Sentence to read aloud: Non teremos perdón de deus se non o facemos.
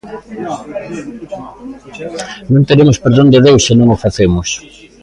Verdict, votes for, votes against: rejected, 1, 2